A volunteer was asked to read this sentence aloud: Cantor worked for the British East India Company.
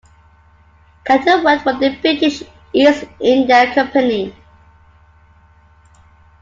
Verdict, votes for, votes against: accepted, 2, 1